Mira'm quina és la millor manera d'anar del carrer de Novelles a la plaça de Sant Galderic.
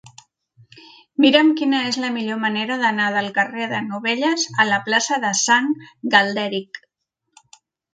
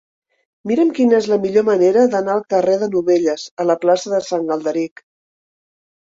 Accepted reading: first